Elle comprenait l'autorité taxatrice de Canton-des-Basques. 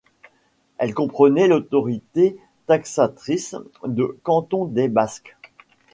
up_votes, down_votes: 2, 0